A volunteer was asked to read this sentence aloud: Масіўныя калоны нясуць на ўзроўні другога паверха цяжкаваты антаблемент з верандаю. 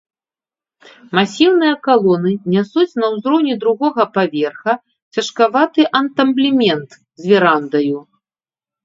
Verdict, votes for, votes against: rejected, 0, 3